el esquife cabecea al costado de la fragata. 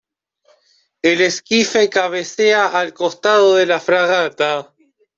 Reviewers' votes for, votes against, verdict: 2, 0, accepted